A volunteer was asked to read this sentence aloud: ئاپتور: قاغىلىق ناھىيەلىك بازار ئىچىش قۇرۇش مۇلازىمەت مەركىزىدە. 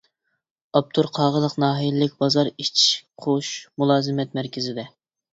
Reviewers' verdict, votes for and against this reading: rejected, 1, 2